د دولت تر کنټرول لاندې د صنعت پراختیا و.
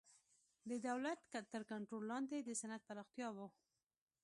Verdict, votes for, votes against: accepted, 2, 0